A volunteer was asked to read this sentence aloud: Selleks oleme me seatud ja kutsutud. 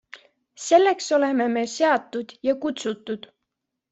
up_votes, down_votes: 2, 0